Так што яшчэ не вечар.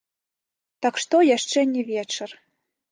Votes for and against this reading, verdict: 1, 2, rejected